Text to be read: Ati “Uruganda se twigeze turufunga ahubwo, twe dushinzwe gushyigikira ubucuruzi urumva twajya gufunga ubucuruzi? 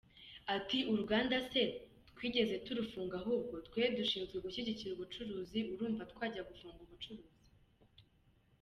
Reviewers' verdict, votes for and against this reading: accepted, 2, 0